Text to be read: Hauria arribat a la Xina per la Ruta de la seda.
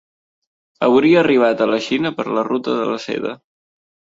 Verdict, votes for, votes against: accepted, 3, 0